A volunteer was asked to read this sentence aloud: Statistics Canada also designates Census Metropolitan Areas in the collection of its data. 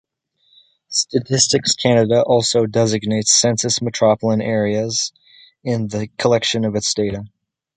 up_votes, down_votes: 2, 1